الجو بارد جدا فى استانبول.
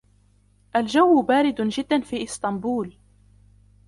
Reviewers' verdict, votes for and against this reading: accepted, 2, 1